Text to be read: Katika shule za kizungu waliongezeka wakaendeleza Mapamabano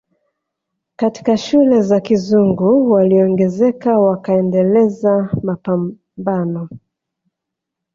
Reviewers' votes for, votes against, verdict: 1, 2, rejected